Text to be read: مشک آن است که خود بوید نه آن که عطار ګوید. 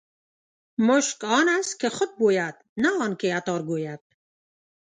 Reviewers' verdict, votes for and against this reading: rejected, 0, 2